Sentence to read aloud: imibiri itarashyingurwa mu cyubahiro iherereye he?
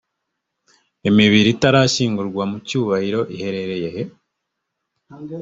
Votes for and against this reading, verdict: 2, 0, accepted